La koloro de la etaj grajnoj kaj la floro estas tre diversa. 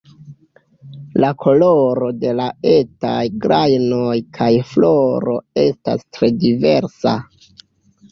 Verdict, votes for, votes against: rejected, 1, 2